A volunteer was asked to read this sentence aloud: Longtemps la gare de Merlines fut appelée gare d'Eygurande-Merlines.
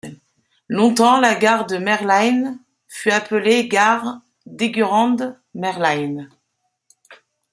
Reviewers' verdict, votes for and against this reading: accepted, 2, 1